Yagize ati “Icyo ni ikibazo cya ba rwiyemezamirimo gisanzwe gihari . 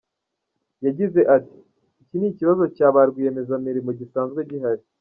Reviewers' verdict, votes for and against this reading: accepted, 2, 0